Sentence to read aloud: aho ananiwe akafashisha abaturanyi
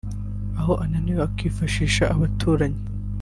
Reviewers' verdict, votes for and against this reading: rejected, 1, 2